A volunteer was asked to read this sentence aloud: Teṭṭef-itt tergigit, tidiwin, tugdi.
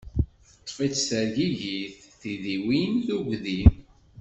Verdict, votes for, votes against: accepted, 2, 0